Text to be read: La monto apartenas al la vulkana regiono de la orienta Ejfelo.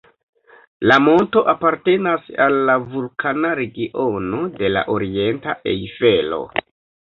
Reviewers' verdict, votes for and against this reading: accepted, 2, 0